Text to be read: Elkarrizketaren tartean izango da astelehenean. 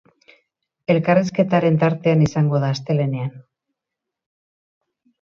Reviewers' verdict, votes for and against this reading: accepted, 6, 0